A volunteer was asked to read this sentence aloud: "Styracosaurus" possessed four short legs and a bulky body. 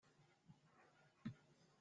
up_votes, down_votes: 0, 2